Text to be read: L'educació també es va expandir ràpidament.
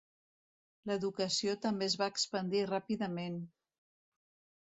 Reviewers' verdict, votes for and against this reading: accepted, 2, 0